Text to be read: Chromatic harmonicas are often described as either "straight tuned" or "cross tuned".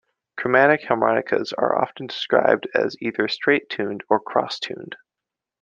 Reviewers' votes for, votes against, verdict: 2, 0, accepted